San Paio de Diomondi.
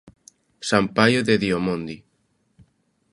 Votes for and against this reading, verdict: 2, 0, accepted